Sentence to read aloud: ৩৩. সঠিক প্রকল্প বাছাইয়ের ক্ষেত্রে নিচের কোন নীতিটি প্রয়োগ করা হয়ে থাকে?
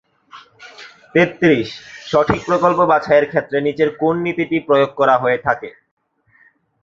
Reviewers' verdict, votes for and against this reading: rejected, 0, 2